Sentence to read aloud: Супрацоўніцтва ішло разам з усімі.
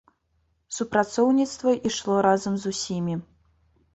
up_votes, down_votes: 2, 0